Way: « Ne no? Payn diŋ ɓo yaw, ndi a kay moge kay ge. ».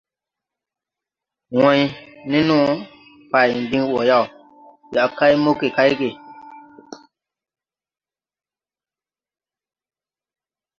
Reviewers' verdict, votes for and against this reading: rejected, 0, 2